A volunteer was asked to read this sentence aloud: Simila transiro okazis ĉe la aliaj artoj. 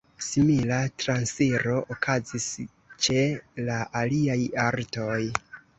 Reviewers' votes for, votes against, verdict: 1, 2, rejected